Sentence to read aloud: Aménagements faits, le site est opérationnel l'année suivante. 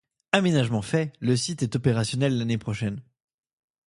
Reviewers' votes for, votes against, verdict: 0, 2, rejected